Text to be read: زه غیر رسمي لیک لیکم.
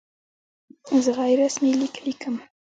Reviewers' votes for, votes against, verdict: 2, 1, accepted